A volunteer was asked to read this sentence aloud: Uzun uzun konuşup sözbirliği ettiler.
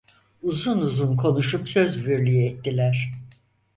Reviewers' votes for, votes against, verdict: 4, 0, accepted